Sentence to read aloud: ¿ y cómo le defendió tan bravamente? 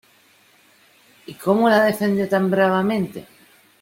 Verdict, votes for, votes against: rejected, 0, 2